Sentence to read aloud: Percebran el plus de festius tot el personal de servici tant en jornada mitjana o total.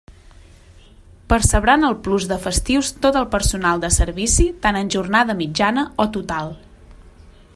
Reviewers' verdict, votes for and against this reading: accepted, 2, 0